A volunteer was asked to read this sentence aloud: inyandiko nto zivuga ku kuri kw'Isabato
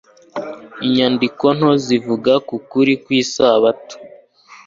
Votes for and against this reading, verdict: 2, 0, accepted